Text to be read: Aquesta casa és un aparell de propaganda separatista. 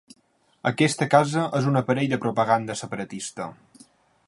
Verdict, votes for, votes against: accepted, 6, 0